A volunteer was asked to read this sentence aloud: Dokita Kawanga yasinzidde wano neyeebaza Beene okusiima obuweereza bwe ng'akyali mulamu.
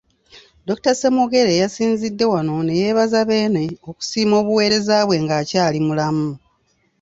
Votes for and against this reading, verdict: 1, 2, rejected